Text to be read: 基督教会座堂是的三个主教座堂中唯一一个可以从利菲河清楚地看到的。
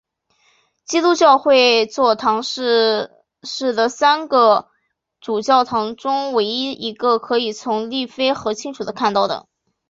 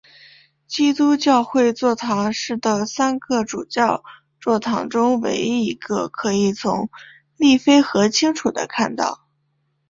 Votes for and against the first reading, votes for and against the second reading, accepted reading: 0, 3, 5, 3, second